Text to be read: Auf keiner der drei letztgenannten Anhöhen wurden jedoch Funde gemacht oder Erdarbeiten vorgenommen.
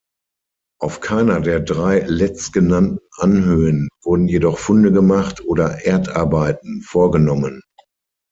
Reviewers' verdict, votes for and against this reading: accepted, 6, 0